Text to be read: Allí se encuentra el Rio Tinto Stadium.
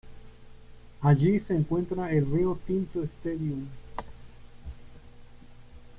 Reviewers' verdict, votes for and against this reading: rejected, 1, 2